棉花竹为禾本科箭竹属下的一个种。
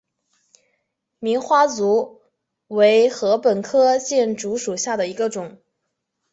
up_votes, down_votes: 3, 0